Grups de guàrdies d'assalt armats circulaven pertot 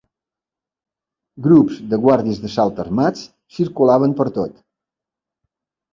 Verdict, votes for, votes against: accepted, 2, 0